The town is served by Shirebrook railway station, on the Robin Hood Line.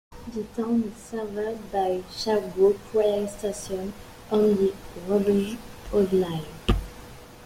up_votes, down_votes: 0, 2